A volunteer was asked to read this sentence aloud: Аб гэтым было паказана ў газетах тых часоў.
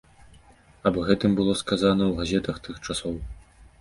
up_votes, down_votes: 1, 2